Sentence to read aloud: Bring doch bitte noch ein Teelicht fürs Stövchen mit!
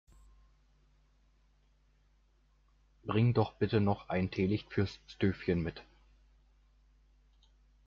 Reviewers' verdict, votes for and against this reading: accepted, 2, 0